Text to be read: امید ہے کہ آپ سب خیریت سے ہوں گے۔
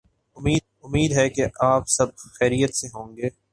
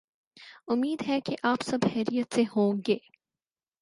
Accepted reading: second